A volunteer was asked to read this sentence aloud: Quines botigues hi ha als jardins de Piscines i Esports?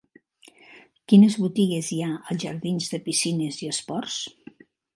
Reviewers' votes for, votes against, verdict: 3, 0, accepted